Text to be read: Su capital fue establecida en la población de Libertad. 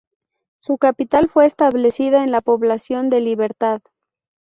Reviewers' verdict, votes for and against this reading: rejected, 0, 2